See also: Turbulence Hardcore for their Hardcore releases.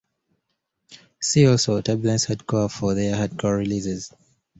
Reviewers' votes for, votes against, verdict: 2, 0, accepted